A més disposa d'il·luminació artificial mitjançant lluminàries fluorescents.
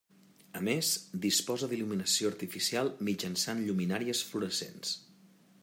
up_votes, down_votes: 3, 0